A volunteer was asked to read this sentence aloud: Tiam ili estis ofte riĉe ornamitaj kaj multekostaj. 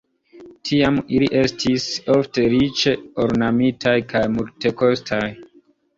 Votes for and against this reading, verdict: 2, 0, accepted